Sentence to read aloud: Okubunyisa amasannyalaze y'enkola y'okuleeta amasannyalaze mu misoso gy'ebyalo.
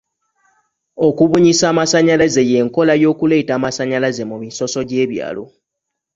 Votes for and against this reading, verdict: 2, 1, accepted